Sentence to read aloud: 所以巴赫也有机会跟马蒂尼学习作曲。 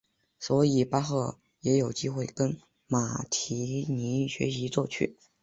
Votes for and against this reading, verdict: 4, 1, accepted